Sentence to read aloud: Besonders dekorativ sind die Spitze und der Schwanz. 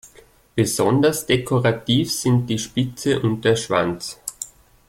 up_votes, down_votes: 2, 0